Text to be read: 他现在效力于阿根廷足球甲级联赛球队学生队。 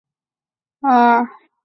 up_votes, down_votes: 0, 2